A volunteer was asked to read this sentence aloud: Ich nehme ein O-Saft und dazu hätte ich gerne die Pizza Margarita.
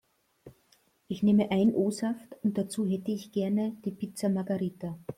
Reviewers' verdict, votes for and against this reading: accepted, 2, 0